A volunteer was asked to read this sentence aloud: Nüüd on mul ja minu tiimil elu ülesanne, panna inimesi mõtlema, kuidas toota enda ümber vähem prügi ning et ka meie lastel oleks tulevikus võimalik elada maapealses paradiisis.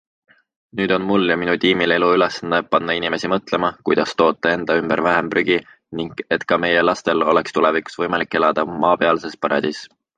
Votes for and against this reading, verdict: 2, 0, accepted